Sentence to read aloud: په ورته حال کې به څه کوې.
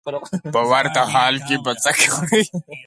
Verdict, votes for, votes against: accepted, 6, 2